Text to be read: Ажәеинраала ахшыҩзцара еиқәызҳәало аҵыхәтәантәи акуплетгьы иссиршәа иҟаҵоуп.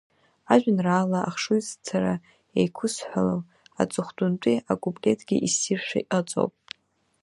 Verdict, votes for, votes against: accepted, 2, 0